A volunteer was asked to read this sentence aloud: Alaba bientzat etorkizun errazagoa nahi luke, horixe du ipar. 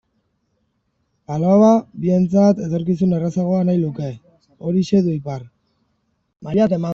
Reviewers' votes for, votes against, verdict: 0, 2, rejected